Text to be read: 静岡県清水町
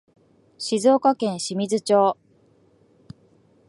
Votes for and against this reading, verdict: 2, 0, accepted